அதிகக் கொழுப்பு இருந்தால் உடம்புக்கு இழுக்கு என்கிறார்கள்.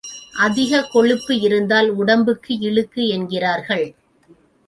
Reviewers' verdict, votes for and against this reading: accepted, 2, 0